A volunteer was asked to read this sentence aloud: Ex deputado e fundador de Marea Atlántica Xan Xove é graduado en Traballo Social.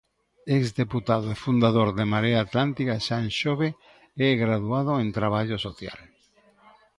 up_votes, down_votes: 1, 2